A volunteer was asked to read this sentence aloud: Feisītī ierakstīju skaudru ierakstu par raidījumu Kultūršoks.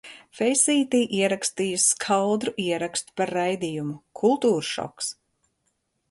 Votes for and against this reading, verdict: 2, 0, accepted